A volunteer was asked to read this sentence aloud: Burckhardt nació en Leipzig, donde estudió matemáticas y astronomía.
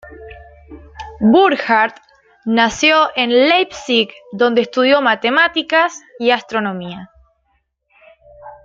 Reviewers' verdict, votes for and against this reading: accepted, 2, 1